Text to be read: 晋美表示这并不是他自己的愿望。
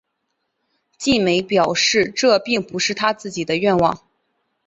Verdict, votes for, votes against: accepted, 5, 0